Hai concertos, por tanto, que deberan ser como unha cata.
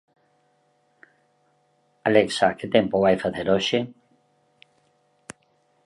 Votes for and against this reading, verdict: 0, 2, rejected